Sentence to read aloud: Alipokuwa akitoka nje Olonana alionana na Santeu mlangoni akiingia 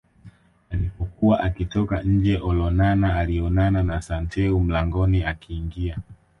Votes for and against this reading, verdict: 2, 0, accepted